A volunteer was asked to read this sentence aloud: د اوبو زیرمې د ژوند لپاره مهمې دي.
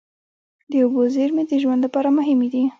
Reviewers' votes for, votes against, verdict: 1, 2, rejected